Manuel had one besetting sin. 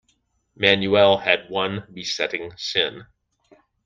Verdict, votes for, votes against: accepted, 2, 0